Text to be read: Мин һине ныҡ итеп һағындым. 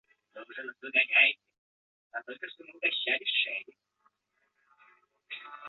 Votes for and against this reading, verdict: 0, 2, rejected